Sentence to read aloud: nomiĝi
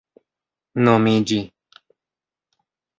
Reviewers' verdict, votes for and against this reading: accepted, 2, 1